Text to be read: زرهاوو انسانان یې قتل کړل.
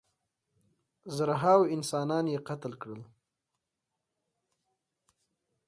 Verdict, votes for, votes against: accepted, 3, 0